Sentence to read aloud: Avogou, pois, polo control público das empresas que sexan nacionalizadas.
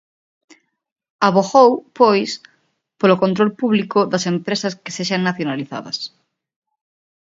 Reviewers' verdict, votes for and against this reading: accepted, 2, 0